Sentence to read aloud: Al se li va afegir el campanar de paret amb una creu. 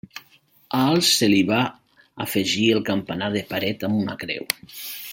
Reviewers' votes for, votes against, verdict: 2, 0, accepted